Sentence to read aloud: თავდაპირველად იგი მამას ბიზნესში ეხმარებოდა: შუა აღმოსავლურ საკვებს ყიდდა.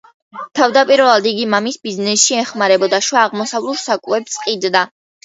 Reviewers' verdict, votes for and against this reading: rejected, 0, 2